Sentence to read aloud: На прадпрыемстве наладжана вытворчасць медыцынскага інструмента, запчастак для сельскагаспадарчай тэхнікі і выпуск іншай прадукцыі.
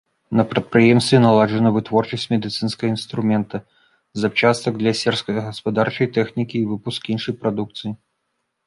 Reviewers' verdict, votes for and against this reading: rejected, 0, 2